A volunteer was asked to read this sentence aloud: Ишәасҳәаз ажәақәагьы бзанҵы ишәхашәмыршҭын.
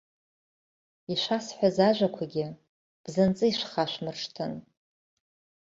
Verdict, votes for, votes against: accepted, 3, 0